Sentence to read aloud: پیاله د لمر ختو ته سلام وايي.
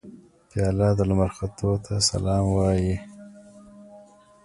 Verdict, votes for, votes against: accepted, 2, 1